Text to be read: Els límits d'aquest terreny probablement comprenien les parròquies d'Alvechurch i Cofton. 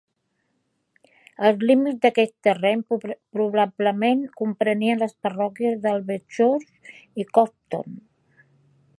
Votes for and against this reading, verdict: 0, 4, rejected